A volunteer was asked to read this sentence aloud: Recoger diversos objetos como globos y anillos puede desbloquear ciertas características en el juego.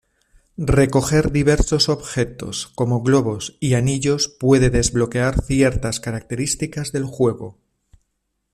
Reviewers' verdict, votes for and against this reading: rejected, 1, 2